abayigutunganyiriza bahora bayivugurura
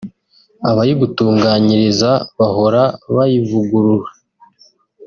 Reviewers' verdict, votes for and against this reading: accepted, 3, 0